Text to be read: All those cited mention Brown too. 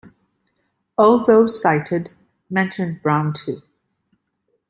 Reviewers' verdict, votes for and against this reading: accepted, 2, 0